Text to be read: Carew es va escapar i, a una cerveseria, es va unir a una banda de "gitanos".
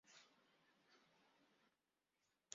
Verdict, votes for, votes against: rejected, 0, 2